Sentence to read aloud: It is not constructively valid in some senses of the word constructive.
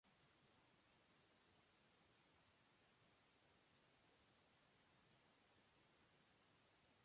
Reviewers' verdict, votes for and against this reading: rejected, 0, 2